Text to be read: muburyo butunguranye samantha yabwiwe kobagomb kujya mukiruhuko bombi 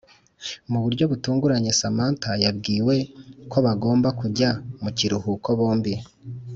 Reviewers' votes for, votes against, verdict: 4, 0, accepted